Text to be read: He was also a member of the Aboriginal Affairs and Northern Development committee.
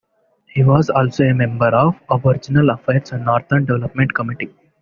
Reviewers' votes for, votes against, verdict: 2, 0, accepted